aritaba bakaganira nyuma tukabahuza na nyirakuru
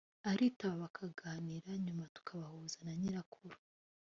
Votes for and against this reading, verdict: 3, 0, accepted